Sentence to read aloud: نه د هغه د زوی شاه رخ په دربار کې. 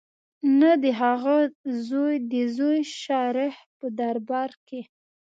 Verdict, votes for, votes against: rejected, 1, 2